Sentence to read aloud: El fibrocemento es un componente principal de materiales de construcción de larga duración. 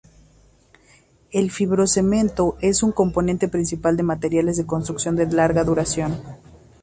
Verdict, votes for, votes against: accepted, 2, 0